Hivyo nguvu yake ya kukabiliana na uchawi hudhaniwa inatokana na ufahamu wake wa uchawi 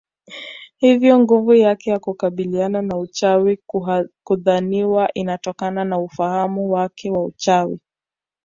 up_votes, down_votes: 2, 0